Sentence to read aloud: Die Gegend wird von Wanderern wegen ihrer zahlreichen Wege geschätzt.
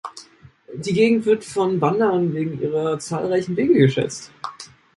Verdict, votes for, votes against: accepted, 3, 0